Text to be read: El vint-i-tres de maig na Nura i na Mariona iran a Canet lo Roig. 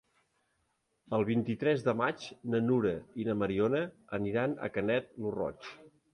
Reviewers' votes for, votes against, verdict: 4, 2, accepted